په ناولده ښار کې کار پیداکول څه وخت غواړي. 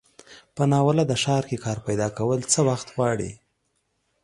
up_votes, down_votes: 2, 0